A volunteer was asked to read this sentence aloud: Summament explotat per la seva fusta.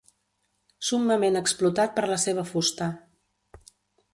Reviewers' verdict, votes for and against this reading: accepted, 2, 0